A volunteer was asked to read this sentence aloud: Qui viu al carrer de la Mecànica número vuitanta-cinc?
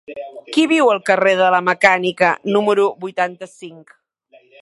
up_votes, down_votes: 3, 0